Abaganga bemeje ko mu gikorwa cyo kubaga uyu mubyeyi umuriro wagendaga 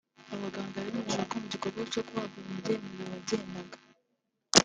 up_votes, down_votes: 0, 2